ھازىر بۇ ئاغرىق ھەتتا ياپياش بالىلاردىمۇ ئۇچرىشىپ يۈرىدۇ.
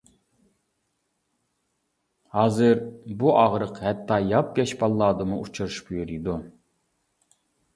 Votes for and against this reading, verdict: 0, 2, rejected